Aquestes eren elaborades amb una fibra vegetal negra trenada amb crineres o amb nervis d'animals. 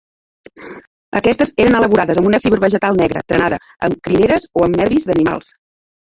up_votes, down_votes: 1, 3